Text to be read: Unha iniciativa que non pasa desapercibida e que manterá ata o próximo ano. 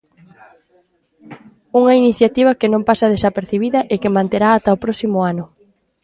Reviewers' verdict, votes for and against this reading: accepted, 2, 0